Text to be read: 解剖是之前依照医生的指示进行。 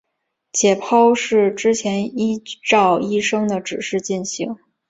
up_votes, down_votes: 3, 0